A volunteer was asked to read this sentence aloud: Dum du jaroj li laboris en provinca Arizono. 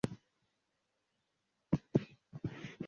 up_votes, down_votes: 0, 2